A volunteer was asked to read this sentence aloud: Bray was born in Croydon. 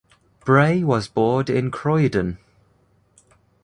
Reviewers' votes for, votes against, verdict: 2, 0, accepted